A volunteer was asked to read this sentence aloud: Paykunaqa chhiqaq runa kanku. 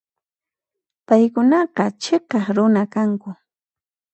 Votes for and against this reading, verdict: 2, 0, accepted